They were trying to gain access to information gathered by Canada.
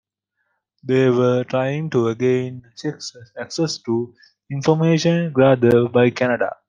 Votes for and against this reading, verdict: 1, 2, rejected